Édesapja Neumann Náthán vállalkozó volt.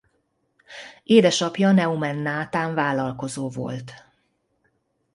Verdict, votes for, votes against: rejected, 1, 2